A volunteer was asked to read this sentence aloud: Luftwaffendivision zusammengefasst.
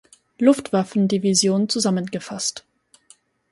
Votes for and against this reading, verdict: 4, 0, accepted